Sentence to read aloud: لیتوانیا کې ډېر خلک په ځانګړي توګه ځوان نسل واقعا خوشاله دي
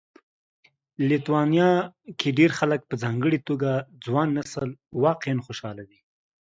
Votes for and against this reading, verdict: 2, 0, accepted